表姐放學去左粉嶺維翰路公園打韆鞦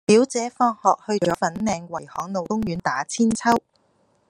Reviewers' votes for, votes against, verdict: 1, 2, rejected